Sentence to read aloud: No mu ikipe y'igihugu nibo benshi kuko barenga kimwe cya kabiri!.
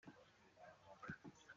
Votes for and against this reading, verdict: 0, 2, rejected